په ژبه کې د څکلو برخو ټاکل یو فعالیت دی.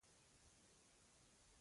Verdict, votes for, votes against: rejected, 1, 2